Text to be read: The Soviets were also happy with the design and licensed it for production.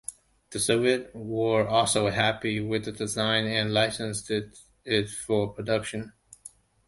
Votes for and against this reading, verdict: 2, 1, accepted